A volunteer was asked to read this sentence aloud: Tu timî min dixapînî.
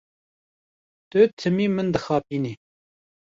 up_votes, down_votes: 2, 0